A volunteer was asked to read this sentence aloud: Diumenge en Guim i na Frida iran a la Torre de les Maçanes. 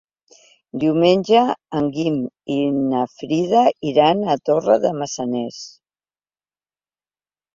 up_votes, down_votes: 0, 2